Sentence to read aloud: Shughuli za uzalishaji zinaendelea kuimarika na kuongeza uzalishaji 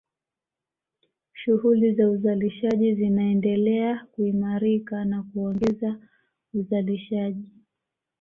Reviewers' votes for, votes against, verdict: 2, 1, accepted